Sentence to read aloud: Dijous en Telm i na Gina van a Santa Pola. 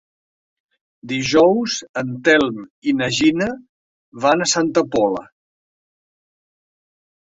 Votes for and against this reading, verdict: 4, 0, accepted